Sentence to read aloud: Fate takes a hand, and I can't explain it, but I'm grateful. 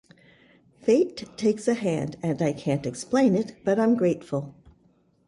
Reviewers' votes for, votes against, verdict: 2, 0, accepted